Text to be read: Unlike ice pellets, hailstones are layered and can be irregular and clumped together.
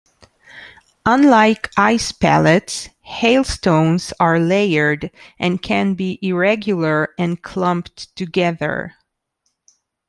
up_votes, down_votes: 2, 0